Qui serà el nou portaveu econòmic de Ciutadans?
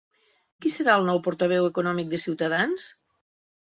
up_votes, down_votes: 3, 0